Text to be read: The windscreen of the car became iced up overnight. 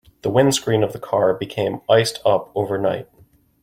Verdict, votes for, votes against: accepted, 2, 0